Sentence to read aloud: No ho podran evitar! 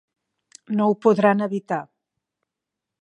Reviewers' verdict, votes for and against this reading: accepted, 3, 0